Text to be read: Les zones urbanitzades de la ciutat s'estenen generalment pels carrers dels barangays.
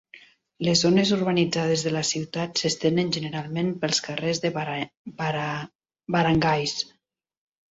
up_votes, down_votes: 0, 2